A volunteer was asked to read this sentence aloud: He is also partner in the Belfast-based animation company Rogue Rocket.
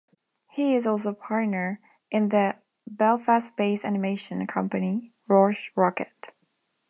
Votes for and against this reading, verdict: 1, 2, rejected